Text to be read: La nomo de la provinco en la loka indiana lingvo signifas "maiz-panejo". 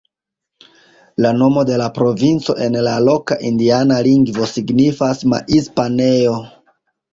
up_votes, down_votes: 2, 0